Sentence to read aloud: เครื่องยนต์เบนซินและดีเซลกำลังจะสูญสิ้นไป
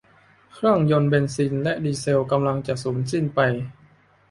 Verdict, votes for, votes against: accepted, 2, 0